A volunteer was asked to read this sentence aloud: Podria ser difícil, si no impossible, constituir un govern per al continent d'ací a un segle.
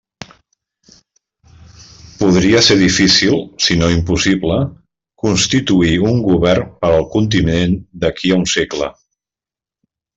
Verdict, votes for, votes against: rejected, 0, 2